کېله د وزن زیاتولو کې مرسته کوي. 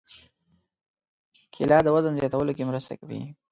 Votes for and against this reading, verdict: 1, 2, rejected